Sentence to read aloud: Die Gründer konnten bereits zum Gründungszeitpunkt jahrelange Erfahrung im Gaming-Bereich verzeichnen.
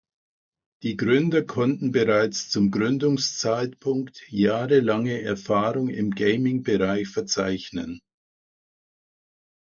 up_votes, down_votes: 2, 0